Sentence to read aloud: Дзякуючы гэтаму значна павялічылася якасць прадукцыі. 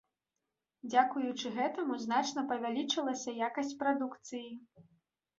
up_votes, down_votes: 2, 0